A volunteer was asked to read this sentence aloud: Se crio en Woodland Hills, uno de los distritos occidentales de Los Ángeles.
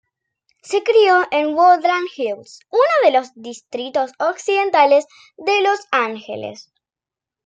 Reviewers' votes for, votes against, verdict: 2, 0, accepted